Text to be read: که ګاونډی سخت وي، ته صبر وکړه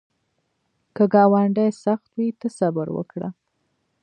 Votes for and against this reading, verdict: 2, 0, accepted